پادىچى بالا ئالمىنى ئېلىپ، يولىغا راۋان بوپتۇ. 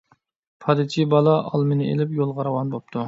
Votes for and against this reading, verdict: 2, 0, accepted